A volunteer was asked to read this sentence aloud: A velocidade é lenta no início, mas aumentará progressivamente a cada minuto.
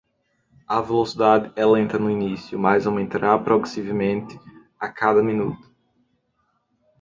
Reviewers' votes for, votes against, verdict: 2, 0, accepted